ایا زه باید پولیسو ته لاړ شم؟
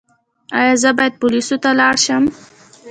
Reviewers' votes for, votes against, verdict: 2, 0, accepted